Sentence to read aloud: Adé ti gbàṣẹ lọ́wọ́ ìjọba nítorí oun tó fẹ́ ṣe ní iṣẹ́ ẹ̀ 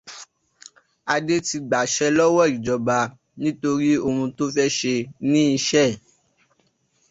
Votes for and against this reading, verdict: 2, 0, accepted